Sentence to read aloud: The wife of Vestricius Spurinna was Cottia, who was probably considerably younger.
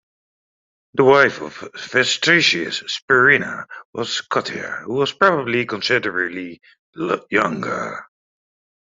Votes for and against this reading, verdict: 0, 2, rejected